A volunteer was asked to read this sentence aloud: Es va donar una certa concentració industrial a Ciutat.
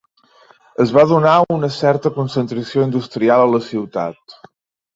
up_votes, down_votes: 1, 2